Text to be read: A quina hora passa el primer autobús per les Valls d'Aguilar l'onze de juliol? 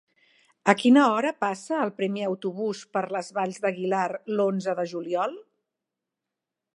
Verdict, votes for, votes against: accepted, 6, 0